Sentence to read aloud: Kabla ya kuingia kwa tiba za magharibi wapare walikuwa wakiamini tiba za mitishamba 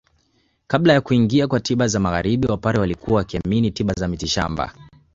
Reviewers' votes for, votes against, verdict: 1, 2, rejected